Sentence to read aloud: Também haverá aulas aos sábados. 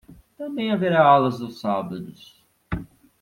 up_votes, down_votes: 1, 2